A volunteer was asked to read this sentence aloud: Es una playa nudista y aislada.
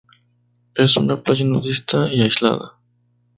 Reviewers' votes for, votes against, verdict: 2, 0, accepted